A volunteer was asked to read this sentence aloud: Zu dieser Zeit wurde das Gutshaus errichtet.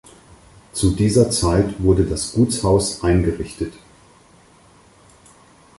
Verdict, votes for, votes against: rejected, 2, 4